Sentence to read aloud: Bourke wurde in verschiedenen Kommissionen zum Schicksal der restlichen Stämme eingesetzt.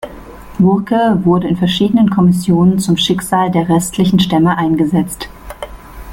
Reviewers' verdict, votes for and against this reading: accepted, 2, 0